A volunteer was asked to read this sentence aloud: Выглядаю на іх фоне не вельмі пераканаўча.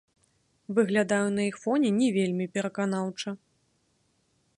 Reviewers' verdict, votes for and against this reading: rejected, 0, 2